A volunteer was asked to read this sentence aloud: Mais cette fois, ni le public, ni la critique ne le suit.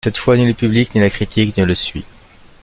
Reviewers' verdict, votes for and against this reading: rejected, 0, 2